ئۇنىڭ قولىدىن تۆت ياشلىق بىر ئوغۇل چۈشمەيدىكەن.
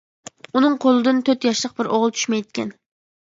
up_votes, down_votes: 2, 0